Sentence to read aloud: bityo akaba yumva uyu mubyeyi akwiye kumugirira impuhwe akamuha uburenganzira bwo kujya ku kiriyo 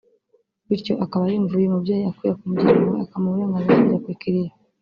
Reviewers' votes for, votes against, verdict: 1, 2, rejected